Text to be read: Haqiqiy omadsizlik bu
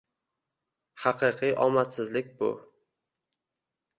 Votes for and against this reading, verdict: 1, 2, rejected